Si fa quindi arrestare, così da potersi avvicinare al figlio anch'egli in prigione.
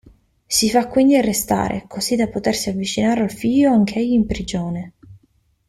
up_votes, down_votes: 2, 0